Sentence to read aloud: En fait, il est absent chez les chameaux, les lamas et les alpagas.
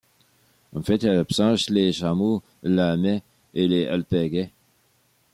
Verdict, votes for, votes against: rejected, 1, 2